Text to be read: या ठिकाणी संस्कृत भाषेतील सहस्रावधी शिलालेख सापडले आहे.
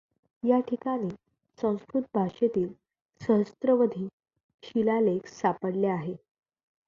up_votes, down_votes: 1, 2